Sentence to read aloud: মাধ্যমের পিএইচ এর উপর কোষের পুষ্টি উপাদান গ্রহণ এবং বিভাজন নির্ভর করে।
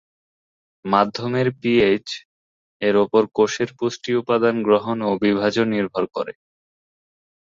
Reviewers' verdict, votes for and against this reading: accepted, 2, 0